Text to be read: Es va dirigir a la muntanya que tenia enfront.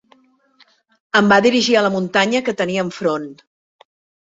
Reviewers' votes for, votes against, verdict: 0, 2, rejected